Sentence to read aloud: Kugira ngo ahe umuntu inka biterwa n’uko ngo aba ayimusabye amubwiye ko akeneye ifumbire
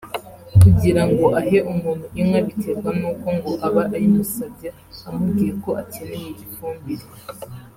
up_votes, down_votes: 2, 0